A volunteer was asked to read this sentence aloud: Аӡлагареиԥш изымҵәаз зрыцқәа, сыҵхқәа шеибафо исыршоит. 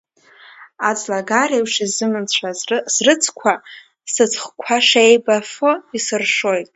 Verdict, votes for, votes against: rejected, 1, 2